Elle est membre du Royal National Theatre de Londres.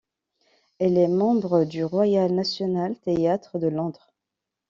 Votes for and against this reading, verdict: 0, 2, rejected